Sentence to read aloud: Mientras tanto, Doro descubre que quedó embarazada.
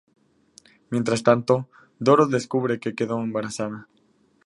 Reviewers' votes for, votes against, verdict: 2, 0, accepted